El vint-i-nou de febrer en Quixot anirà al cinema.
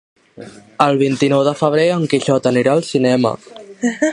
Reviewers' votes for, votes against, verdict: 1, 2, rejected